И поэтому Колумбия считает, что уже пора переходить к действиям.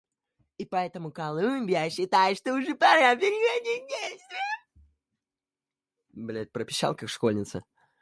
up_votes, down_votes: 0, 2